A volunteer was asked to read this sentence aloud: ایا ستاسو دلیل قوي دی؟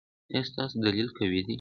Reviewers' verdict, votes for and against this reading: accepted, 3, 0